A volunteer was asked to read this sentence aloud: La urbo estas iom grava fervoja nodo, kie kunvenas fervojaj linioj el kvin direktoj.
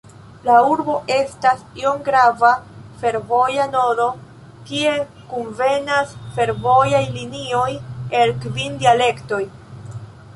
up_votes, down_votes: 1, 2